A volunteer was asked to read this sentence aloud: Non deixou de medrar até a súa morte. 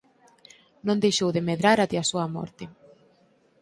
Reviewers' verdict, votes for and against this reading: accepted, 4, 2